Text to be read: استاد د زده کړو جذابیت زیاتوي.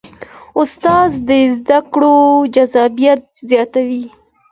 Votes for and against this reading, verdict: 2, 0, accepted